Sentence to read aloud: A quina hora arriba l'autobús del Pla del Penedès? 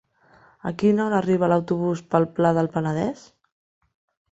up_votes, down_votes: 1, 2